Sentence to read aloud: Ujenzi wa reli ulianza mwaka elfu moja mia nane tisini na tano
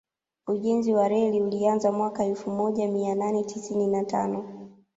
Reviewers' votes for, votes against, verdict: 2, 0, accepted